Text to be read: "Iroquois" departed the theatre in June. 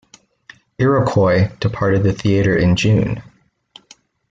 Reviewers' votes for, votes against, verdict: 2, 0, accepted